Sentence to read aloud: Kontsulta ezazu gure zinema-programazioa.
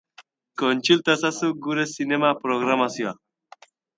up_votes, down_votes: 0, 2